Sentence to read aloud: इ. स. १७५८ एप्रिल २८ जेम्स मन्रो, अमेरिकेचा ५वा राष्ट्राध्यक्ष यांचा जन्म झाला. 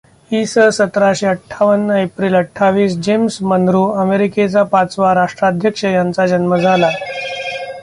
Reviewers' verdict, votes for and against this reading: rejected, 0, 2